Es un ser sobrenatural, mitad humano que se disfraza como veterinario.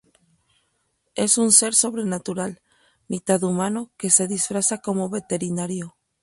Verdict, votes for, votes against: accepted, 4, 0